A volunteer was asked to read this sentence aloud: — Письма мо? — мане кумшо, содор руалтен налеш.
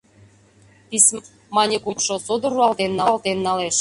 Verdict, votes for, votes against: rejected, 0, 2